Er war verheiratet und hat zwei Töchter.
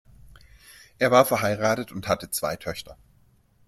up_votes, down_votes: 1, 2